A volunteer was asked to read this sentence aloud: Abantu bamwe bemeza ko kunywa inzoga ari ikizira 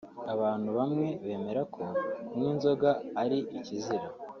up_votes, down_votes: 1, 2